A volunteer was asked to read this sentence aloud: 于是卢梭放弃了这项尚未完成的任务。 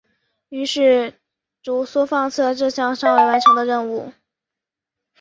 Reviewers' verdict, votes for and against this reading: accepted, 3, 0